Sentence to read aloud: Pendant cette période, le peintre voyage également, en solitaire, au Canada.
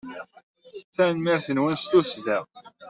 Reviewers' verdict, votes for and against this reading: rejected, 0, 2